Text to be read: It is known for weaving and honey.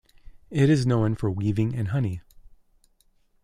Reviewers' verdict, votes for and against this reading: accepted, 2, 0